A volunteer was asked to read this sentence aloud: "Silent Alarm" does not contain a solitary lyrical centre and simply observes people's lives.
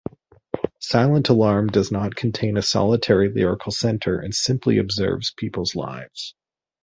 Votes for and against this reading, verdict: 2, 0, accepted